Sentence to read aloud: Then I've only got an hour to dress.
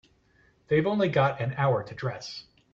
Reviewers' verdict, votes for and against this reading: rejected, 0, 2